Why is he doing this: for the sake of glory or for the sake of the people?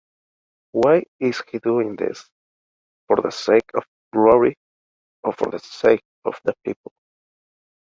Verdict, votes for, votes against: accepted, 2, 1